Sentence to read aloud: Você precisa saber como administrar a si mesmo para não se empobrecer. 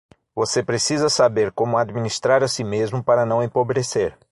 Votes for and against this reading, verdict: 0, 6, rejected